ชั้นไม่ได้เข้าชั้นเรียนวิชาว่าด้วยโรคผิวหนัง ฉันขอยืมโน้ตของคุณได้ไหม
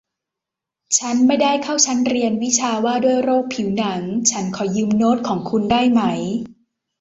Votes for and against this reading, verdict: 2, 0, accepted